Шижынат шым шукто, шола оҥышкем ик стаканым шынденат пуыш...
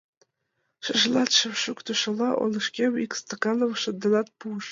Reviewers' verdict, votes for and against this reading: rejected, 0, 2